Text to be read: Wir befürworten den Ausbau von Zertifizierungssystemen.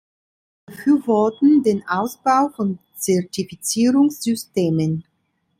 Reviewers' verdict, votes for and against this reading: accepted, 3, 2